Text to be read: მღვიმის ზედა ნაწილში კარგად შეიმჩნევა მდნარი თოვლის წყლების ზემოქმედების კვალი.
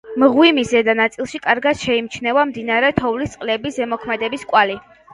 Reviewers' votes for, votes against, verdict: 0, 2, rejected